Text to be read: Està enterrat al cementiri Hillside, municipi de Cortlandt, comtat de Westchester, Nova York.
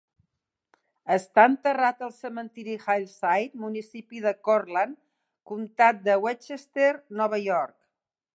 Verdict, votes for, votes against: accepted, 2, 0